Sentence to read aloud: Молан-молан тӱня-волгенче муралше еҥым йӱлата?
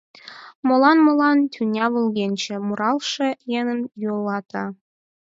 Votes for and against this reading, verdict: 2, 4, rejected